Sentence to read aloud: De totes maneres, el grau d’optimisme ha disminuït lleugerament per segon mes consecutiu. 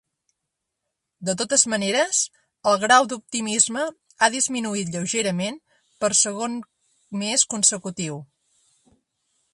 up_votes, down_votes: 6, 0